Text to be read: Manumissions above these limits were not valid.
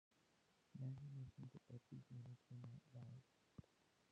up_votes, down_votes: 0, 2